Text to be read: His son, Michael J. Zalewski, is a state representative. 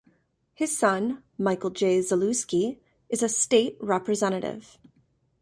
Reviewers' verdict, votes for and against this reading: accepted, 2, 0